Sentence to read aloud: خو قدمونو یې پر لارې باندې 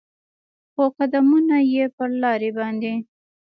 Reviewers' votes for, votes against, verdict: 2, 1, accepted